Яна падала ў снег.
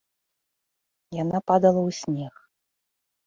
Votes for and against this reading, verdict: 2, 0, accepted